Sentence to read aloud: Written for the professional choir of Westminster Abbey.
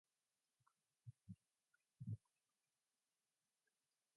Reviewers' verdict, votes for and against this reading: rejected, 0, 2